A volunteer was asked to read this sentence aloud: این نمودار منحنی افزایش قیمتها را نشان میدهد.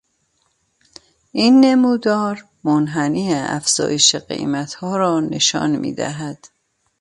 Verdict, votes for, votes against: accepted, 2, 0